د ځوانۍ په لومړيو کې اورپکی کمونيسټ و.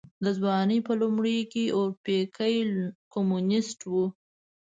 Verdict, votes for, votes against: accepted, 2, 0